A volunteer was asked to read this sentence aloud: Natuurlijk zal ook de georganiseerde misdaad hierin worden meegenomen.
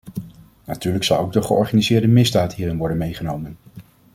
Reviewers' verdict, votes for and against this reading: accepted, 2, 0